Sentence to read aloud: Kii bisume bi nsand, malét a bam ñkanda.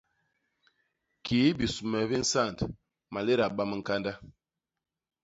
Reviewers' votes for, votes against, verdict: 2, 0, accepted